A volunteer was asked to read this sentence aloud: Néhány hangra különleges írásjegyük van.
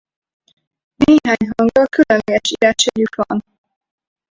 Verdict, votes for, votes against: rejected, 0, 4